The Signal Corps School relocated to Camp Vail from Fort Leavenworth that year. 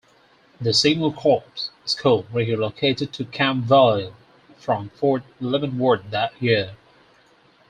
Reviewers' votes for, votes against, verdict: 2, 4, rejected